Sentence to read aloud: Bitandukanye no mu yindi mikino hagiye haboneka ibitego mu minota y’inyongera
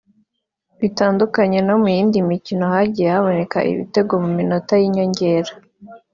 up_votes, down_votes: 2, 0